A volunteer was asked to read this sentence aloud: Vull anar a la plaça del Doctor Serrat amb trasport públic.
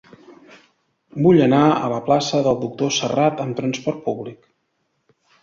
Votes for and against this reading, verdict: 2, 0, accepted